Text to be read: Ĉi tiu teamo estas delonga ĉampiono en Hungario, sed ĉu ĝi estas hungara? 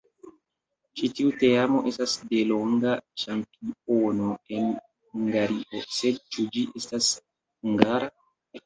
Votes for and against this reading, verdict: 1, 2, rejected